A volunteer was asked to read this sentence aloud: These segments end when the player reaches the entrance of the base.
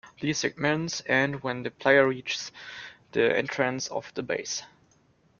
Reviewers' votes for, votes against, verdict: 2, 1, accepted